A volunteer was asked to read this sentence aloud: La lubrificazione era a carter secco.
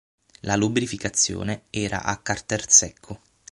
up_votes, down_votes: 6, 0